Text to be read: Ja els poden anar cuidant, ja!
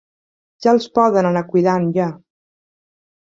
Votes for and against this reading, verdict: 3, 0, accepted